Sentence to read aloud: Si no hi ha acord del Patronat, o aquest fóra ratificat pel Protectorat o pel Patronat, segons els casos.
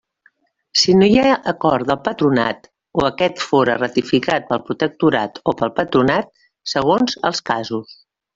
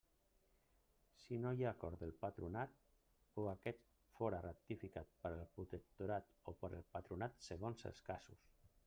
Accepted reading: first